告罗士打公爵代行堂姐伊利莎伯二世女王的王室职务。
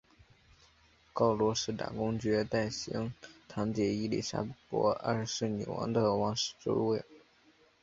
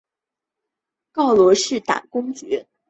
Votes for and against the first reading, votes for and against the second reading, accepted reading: 2, 0, 1, 2, first